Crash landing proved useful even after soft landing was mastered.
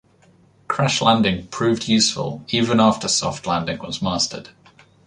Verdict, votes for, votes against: accepted, 2, 1